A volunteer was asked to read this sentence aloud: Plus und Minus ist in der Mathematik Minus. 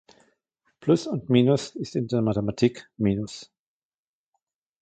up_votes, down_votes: 2, 1